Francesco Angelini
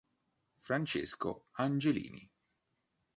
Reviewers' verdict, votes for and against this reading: accepted, 2, 0